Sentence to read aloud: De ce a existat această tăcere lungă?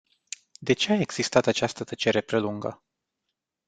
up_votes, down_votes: 0, 2